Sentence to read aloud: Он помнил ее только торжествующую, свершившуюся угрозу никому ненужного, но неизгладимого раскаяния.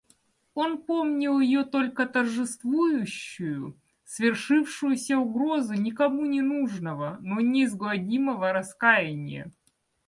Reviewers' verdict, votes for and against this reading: accepted, 2, 0